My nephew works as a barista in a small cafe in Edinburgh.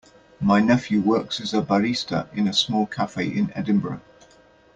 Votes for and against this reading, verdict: 2, 0, accepted